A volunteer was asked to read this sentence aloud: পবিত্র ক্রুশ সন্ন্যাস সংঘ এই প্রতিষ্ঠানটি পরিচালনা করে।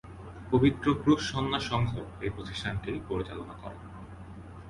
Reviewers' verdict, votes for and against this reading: accepted, 6, 0